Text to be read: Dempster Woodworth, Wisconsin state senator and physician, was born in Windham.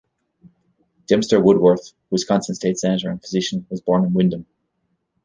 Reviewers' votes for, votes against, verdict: 0, 2, rejected